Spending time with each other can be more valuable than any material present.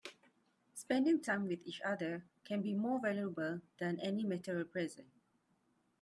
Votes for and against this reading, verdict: 1, 2, rejected